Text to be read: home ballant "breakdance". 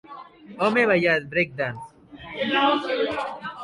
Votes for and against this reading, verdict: 2, 0, accepted